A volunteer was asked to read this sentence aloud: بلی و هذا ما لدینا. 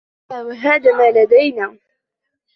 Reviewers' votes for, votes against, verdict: 2, 1, accepted